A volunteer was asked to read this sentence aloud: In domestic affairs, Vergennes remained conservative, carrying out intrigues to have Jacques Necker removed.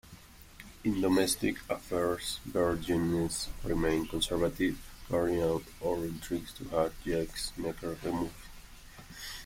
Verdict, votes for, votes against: rejected, 1, 2